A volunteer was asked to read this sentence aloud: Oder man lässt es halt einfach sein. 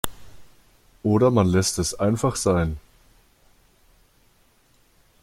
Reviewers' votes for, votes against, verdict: 0, 2, rejected